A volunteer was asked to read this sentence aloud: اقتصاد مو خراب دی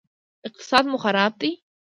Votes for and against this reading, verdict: 2, 0, accepted